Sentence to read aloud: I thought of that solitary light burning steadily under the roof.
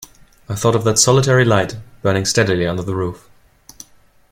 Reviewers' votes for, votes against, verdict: 2, 0, accepted